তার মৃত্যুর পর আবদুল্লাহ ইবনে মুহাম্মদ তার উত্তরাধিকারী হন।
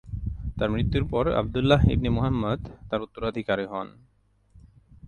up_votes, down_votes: 2, 0